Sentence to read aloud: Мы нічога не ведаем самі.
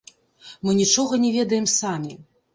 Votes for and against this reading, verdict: 0, 2, rejected